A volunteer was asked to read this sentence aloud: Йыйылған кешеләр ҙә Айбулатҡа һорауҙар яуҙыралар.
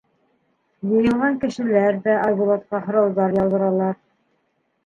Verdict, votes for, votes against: rejected, 0, 2